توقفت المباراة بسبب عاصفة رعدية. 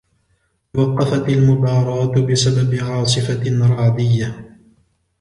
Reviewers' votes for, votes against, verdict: 2, 0, accepted